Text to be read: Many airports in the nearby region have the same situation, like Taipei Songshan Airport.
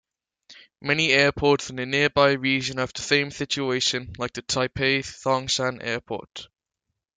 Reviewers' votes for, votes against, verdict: 1, 2, rejected